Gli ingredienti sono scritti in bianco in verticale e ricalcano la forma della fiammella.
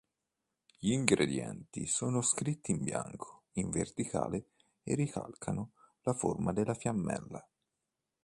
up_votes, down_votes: 3, 0